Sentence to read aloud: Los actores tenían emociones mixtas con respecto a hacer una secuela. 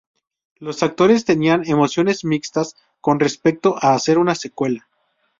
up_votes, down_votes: 4, 0